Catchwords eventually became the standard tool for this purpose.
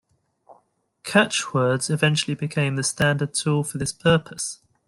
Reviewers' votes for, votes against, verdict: 2, 0, accepted